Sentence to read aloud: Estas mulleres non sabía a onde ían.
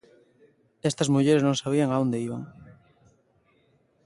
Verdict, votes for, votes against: rejected, 0, 2